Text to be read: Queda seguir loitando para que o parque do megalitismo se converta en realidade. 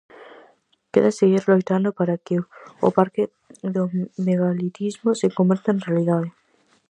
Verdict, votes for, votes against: rejected, 2, 2